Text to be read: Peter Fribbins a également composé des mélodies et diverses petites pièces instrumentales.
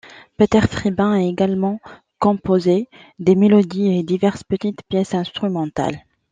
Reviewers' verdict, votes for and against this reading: accepted, 2, 0